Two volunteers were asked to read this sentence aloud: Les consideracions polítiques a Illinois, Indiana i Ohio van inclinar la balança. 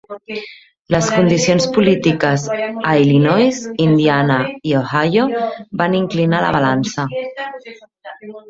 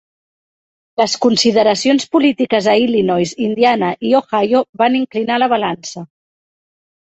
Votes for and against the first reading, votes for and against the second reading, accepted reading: 1, 2, 3, 0, second